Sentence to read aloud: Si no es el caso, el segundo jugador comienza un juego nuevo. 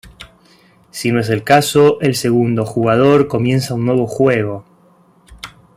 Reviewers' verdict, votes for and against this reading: rejected, 0, 2